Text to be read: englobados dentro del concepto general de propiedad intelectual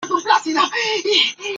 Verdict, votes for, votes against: rejected, 0, 2